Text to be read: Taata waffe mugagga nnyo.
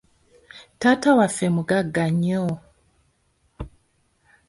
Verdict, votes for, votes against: accepted, 2, 0